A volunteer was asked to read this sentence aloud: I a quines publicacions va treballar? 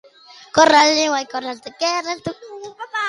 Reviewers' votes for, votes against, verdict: 0, 2, rejected